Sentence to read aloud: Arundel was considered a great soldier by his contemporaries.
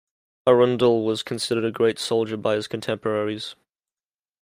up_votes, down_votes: 2, 0